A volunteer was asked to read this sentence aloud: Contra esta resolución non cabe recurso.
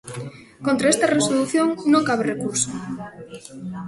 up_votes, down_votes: 3, 0